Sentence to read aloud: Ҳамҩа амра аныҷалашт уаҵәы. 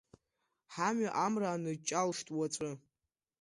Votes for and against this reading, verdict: 0, 2, rejected